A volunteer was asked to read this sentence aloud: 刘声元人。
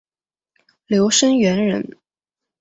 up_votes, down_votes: 2, 0